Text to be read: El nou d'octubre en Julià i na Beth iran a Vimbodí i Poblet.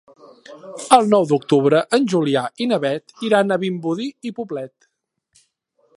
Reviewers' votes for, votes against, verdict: 2, 0, accepted